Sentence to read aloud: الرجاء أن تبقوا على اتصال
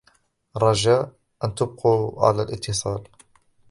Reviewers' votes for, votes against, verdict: 0, 2, rejected